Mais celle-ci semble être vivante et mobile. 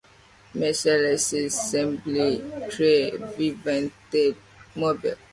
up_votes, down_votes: 0, 2